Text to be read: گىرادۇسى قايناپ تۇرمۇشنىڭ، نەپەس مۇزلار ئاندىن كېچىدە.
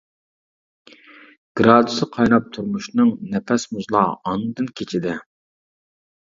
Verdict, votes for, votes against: rejected, 0, 2